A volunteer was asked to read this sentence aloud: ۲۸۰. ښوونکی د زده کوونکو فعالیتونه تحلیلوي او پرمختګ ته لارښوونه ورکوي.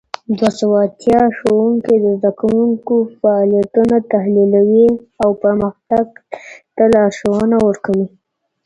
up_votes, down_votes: 0, 2